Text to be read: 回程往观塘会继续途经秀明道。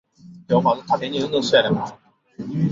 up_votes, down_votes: 0, 2